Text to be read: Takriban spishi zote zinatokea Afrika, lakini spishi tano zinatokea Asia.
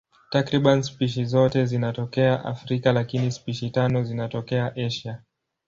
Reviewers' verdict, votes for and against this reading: accepted, 2, 0